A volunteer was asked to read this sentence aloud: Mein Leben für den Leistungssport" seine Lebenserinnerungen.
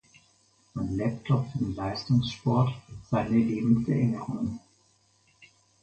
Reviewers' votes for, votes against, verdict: 0, 4, rejected